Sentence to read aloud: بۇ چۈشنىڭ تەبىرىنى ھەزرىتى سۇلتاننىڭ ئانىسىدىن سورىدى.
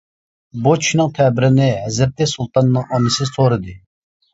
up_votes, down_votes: 0, 2